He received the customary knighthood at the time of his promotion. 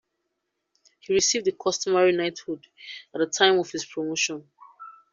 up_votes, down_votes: 2, 0